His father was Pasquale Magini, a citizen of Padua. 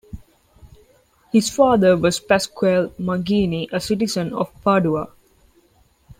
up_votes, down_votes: 2, 0